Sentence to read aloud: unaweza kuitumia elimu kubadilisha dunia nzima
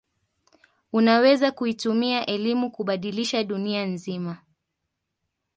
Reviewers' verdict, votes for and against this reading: accepted, 2, 0